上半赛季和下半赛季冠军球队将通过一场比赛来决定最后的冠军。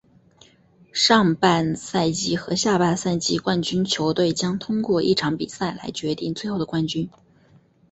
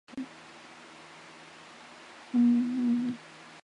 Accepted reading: first